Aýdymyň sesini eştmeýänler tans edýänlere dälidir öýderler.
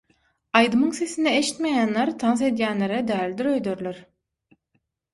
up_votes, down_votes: 6, 0